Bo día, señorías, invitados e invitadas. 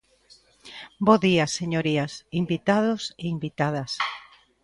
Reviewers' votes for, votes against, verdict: 2, 0, accepted